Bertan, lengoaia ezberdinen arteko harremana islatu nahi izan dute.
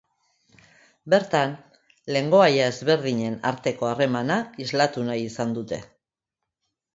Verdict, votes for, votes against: accepted, 2, 0